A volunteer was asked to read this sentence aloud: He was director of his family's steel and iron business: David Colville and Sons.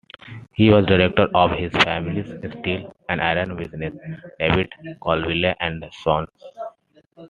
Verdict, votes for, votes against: rejected, 1, 2